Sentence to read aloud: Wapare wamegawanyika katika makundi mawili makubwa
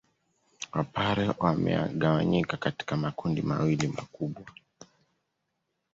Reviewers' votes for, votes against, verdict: 1, 2, rejected